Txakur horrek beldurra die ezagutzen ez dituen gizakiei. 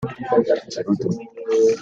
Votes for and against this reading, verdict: 0, 2, rejected